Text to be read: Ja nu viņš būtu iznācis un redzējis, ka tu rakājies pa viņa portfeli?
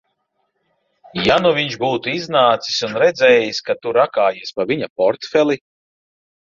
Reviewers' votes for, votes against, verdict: 2, 0, accepted